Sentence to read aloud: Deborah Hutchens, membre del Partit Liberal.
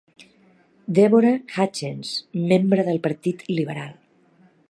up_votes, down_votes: 2, 0